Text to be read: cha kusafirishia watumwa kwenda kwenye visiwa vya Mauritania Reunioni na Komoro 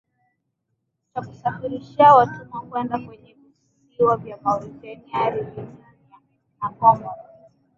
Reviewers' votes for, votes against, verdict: 2, 1, accepted